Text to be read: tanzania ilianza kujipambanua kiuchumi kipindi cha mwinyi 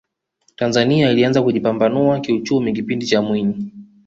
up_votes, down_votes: 2, 0